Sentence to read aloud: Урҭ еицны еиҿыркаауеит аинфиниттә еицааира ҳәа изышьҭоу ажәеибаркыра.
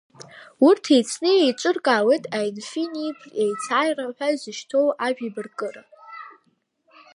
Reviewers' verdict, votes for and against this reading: rejected, 0, 2